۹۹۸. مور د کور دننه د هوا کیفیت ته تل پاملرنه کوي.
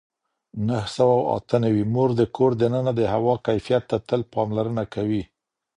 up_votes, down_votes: 0, 2